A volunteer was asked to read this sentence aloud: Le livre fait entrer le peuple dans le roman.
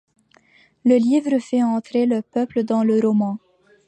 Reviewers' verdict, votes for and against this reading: accepted, 2, 0